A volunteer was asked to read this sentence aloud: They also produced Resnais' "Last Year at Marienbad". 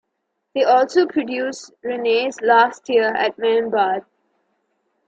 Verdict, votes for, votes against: rejected, 1, 2